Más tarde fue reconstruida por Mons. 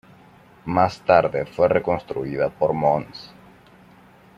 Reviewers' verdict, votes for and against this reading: accepted, 2, 0